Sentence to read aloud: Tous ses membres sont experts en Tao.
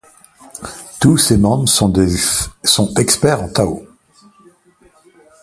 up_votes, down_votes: 2, 1